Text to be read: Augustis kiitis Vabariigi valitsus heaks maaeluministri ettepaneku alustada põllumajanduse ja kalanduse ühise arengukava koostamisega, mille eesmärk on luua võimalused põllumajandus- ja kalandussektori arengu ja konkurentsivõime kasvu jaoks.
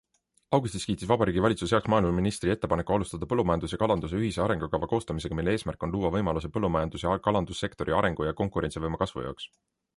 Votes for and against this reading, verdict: 2, 0, accepted